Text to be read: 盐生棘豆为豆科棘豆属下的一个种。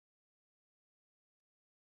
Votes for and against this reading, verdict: 2, 3, rejected